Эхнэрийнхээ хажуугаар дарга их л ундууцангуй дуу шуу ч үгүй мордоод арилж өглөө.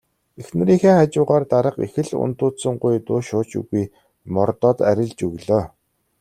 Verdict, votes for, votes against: accepted, 2, 0